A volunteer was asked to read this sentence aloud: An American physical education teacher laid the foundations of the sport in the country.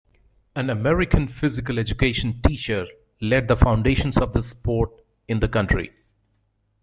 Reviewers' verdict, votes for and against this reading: accepted, 2, 0